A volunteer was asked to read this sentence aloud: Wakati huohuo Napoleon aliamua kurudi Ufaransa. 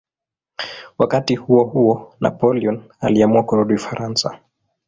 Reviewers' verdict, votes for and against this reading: rejected, 0, 2